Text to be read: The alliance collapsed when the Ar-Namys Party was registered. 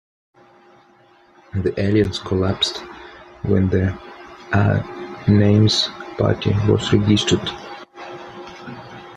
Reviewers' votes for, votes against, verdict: 1, 2, rejected